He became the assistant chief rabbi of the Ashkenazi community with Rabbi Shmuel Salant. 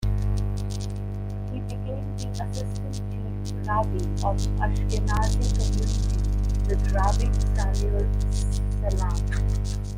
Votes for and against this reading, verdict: 0, 2, rejected